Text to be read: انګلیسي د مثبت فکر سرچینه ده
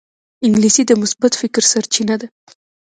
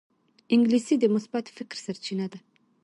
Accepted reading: first